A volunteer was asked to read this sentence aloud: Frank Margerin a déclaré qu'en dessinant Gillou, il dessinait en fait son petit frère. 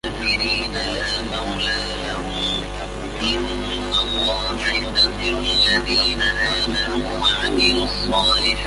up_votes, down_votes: 0, 2